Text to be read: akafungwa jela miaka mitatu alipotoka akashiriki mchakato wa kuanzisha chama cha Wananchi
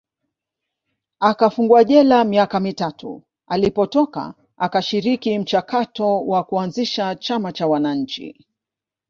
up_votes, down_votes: 2, 0